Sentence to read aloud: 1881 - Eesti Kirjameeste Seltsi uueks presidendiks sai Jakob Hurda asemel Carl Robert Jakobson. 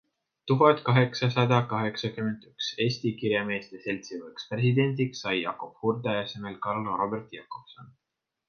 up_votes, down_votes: 0, 2